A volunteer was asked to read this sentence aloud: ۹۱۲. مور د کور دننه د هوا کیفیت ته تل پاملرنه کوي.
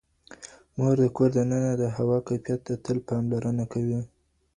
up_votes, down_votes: 0, 2